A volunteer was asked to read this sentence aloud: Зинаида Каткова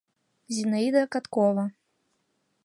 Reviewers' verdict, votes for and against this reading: accepted, 2, 0